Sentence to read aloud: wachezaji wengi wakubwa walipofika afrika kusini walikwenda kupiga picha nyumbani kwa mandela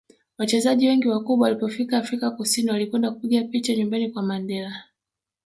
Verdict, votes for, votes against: rejected, 0, 2